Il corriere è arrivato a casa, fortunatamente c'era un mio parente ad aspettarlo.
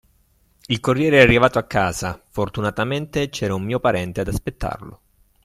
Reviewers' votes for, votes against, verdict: 2, 0, accepted